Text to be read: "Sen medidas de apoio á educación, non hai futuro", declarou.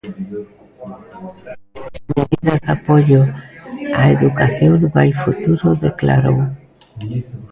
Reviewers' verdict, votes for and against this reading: rejected, 0, 2